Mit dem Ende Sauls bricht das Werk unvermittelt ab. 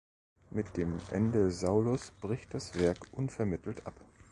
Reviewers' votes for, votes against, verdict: 0, 2, rejected